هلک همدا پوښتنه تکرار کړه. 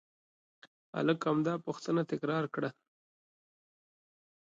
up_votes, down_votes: 2, 0